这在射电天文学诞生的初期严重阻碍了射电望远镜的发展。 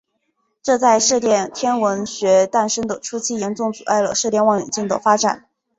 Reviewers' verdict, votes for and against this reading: accepted, 2, 0